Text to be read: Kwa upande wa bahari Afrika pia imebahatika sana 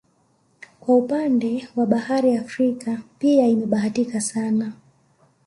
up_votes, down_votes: 1, 2